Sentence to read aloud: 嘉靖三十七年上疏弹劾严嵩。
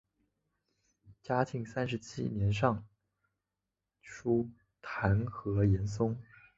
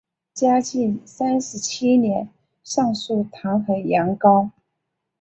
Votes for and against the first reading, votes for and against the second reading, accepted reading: 2, 0, 1, 2, first